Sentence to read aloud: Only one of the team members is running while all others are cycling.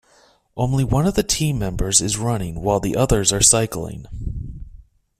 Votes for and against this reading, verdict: 2, 1, accepted